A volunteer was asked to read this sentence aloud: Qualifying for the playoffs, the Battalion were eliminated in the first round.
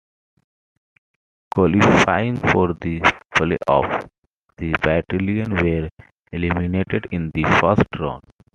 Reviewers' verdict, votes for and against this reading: accepted, 2, 0